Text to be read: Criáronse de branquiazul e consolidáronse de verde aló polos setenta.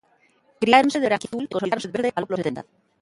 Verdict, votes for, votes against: rejected, 0, 2